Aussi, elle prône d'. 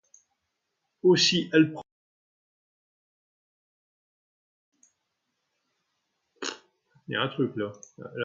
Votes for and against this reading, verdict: 0, 2, rejected